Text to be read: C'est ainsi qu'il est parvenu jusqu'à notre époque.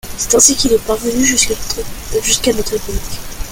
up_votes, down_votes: 1, 2